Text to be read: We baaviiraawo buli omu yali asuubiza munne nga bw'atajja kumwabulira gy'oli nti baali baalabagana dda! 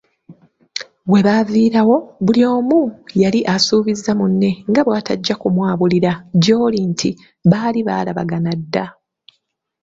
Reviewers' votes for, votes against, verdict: 2, 0, accepted